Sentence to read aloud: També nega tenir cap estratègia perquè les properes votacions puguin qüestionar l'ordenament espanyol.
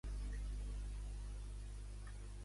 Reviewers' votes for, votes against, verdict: 1, 2, rejected